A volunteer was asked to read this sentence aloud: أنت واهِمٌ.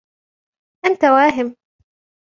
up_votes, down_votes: 2, 1